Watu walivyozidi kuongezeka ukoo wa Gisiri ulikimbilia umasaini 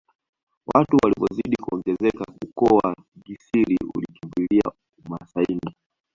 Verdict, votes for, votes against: rejected, 1, 2